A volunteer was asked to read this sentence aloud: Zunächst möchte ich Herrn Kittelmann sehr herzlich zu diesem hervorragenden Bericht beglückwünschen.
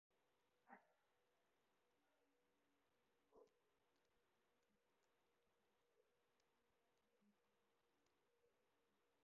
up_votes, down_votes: 0, 2